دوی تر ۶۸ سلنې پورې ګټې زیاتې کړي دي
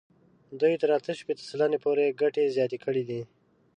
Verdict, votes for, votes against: rejected, 0, 2